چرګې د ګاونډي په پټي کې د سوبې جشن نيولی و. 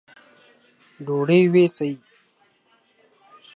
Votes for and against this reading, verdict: 0, 2, rejected